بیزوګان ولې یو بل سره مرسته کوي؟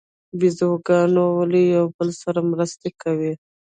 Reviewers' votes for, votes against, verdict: 1, 2, rejected